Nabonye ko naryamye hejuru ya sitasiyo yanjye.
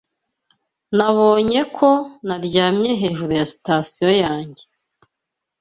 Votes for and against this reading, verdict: 2, 0, accepted